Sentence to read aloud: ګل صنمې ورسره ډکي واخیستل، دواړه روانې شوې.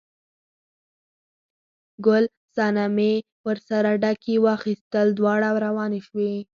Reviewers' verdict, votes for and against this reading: accepted, 6, 2